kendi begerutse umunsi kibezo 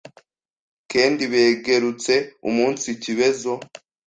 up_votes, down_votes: 1, 2